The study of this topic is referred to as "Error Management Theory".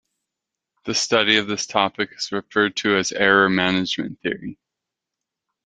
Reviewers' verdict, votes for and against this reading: accepted, 2, 0